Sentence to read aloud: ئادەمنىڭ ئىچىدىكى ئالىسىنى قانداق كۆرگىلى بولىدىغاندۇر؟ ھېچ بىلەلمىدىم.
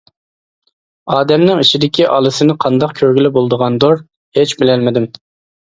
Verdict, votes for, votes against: accepted, 2, 0